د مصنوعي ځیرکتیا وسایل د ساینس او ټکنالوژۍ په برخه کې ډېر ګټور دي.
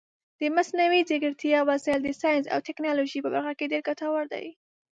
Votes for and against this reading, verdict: 0, 2, rejected